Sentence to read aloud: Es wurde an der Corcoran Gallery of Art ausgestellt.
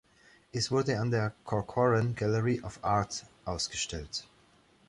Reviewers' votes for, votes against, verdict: 0, 2, rejected